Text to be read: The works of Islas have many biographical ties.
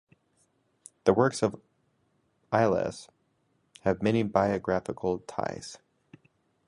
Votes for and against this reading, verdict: 2, 1, accepted